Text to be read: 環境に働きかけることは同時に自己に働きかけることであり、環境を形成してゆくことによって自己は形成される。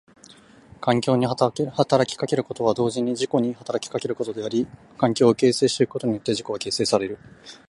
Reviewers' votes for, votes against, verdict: 0, 2, rejected